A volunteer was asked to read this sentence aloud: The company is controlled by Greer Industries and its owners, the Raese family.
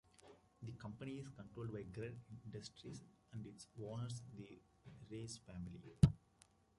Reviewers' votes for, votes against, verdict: 0, 2, rejected